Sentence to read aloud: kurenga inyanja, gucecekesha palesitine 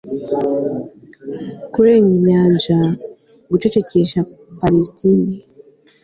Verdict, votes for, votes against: accepted, 2, 0